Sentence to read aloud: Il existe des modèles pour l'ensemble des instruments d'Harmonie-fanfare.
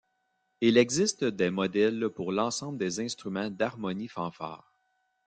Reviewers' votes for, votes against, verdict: 2, 0, accepted